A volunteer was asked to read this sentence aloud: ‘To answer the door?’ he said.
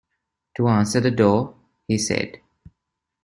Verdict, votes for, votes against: accepted, 2, 0